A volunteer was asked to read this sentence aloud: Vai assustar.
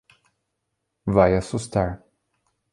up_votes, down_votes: 2, 0